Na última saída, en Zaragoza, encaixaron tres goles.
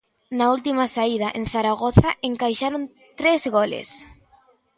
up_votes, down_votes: 2, 0